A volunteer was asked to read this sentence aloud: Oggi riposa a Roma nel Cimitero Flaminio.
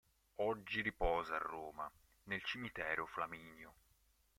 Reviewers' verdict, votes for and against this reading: accepted, 2, 0